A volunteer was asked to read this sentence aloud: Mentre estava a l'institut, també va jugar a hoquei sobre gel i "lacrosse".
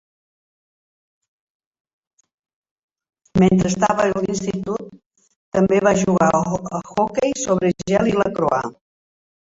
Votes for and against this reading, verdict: 1, 2, rejected